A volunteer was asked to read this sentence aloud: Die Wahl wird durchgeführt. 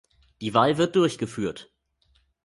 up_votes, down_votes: 2, 0